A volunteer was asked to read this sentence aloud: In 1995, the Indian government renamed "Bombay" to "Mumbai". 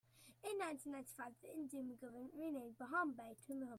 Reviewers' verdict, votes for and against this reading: rejected, 0, 2